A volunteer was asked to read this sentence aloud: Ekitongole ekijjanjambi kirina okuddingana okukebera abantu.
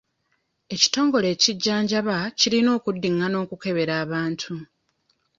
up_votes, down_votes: 1, 2